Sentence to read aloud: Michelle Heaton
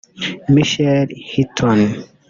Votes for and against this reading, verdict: 0, 2, rejected